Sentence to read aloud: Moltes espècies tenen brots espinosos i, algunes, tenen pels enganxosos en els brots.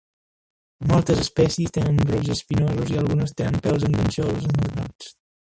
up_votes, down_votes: 1, 3